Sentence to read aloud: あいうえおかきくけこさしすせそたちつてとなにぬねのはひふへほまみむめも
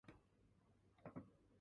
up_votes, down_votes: 0, 2